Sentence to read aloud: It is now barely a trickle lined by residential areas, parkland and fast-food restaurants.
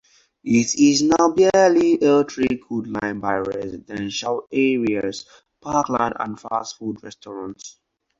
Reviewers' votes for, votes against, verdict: 0, 4, rejected